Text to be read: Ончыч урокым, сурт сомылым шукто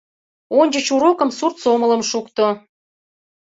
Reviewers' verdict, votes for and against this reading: accepted, 2, 0